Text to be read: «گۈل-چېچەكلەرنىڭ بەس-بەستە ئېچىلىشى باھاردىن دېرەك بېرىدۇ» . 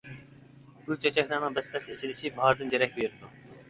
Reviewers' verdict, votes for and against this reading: rejected, 1, 2